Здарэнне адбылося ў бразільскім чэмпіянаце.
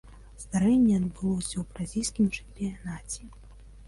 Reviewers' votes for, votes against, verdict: 2, 0, accepted